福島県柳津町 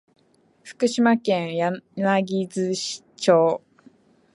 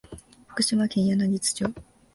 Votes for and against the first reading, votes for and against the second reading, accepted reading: 1, 3, 2, 0, second